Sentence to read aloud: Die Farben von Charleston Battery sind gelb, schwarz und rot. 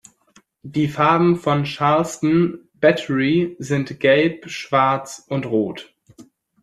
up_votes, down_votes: 2, 0